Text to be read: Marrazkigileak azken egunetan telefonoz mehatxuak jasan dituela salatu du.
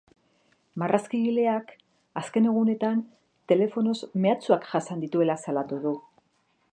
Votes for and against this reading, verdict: 2, 0, accepted